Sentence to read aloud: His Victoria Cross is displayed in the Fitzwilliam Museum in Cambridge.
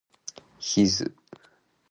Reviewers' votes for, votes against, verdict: 0, 2, rejected